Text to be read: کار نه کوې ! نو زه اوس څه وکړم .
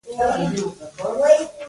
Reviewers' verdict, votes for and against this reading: rejected, 0, 2